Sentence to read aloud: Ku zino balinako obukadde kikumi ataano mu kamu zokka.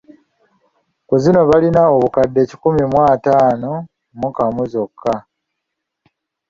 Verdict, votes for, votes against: accepted, 2, 1